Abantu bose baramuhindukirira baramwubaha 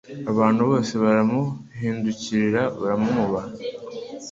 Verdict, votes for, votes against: accepted, 2, 0